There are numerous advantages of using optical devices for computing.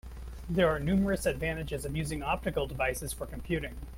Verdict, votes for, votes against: accepted, 2, 0